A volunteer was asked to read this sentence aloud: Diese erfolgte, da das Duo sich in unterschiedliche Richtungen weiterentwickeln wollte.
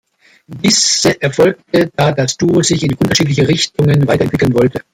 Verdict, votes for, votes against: rejected, 1, 2